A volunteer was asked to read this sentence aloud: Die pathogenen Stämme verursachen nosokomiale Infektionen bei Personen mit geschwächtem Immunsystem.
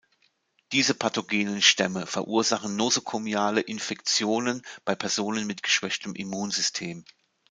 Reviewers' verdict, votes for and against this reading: rejected, 1, 2